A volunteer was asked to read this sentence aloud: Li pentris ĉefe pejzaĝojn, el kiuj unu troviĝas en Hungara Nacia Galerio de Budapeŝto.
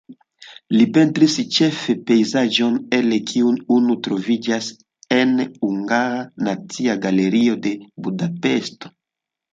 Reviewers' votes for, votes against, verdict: 0, 2, rejected